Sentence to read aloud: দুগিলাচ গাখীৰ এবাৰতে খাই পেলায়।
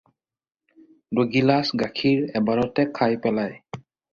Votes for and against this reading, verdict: 4, 0, accepted